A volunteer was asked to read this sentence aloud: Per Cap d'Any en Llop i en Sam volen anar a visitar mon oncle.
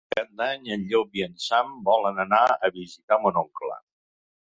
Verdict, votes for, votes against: rejected, 2, 4